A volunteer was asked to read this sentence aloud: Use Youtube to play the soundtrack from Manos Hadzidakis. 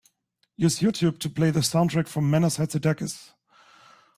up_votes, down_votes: 2, 0